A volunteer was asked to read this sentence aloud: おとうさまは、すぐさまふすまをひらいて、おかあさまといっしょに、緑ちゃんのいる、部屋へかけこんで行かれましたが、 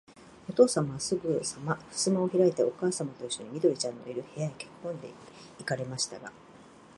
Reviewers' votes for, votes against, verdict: 0, 2, rejected